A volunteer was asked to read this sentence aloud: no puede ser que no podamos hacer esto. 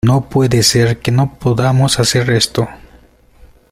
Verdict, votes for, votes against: rejected, 1, 2